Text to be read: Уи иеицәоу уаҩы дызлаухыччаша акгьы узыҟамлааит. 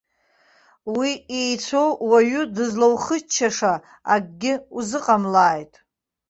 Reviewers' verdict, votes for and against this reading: accepted, 2, 0